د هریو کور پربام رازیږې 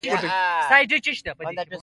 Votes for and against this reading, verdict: 0, 2, rejected